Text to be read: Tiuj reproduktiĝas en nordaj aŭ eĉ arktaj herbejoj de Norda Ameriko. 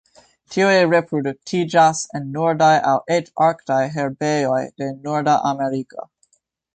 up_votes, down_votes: 1, 2